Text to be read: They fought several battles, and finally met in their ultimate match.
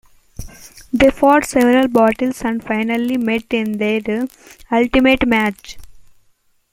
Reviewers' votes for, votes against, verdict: 2, 1, accepted